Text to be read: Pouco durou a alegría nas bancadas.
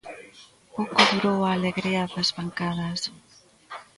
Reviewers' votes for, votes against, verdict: 2, 1, accepted